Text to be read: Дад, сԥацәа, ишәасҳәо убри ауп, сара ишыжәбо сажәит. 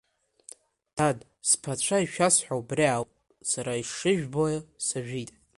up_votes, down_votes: 4, 0